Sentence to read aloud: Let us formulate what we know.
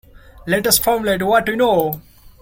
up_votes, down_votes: 2, 0